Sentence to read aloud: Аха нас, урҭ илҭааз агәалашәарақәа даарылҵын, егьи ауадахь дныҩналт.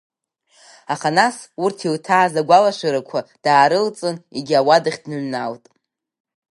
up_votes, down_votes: 7, 0